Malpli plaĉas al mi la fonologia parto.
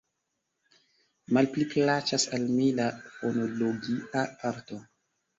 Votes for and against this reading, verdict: 2, 1, accepted